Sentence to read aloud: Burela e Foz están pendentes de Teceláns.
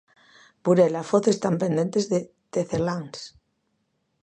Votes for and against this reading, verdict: 2, 0, accepted